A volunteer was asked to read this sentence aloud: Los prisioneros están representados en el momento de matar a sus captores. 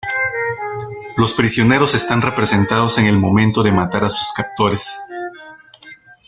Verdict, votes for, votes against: accepted, 2, 0